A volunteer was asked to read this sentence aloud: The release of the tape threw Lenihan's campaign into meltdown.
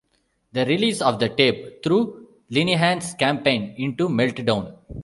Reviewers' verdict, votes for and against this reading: accepted, 2, 0